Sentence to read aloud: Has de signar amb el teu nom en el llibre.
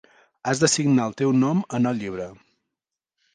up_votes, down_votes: 0, 2